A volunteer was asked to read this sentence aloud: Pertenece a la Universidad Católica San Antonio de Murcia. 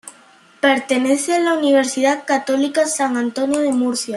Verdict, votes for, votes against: accepted, 2, 0